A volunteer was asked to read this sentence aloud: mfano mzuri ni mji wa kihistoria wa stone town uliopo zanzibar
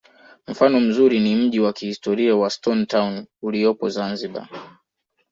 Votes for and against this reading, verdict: 2, 0, accepted